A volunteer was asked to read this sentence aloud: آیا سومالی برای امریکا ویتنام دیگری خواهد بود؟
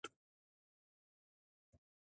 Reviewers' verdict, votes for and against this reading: rejected, 0, 2